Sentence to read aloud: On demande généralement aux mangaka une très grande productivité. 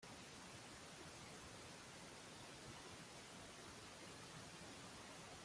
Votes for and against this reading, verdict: 0, 2, rejected